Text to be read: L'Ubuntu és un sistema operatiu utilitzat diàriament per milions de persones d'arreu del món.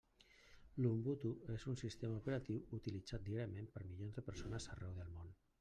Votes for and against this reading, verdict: 1, 2, rejected